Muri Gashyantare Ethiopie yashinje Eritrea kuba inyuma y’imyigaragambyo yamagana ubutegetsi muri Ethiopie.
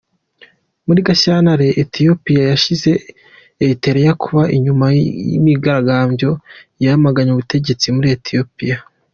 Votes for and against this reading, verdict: 1, 2, rejected